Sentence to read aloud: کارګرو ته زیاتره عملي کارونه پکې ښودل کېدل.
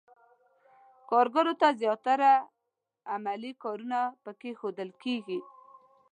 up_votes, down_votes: 1, 2